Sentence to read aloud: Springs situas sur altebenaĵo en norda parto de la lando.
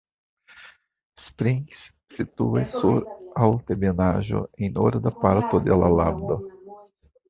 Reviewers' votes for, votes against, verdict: 1, 2, rejected